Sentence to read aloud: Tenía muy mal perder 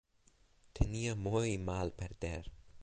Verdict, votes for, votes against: rejected, 2, 2